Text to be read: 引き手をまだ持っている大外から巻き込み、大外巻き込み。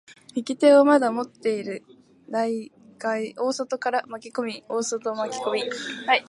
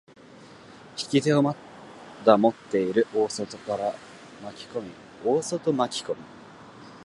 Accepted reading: second